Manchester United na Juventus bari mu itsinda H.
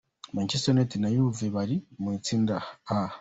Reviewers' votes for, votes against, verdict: 0, 2, rejected